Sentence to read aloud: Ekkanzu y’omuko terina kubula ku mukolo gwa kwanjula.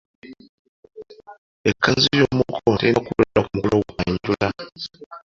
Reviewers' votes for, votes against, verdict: 1, 2, rejected